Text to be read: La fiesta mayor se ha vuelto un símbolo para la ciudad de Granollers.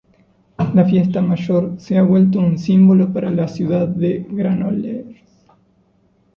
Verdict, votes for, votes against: rejected, 1, 2